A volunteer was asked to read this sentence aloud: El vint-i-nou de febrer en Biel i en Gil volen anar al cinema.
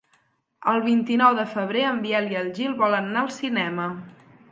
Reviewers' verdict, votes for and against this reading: accepted, 6, 0